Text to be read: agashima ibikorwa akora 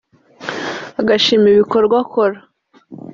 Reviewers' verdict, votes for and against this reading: accepted, 2, 0